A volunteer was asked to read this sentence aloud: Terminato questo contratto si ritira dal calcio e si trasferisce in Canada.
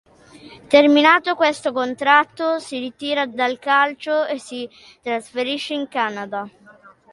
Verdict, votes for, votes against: accepted, 2, 0